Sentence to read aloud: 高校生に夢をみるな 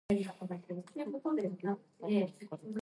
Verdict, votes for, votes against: rejected, 1, 2